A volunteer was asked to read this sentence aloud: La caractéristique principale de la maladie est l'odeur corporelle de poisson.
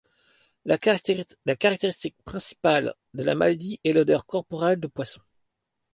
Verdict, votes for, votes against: rejected, 1, 2